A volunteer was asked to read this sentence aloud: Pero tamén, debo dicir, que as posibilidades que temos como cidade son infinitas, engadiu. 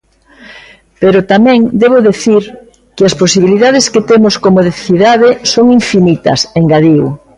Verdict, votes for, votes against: rejected, 0, 2